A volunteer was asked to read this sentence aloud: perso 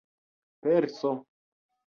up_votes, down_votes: 2, 0